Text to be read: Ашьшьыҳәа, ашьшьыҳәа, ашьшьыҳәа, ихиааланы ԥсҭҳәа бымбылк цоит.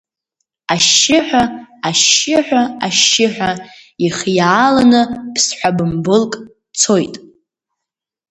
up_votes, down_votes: 2, 0